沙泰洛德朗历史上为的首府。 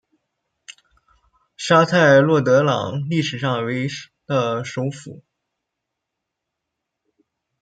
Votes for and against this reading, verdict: 1, 2, rejected